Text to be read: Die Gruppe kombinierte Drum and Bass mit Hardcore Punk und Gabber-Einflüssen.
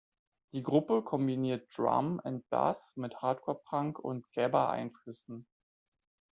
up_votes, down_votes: 0, 2